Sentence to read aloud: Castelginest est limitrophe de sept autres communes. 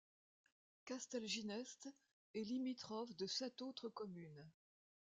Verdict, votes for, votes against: accepted, 2, 0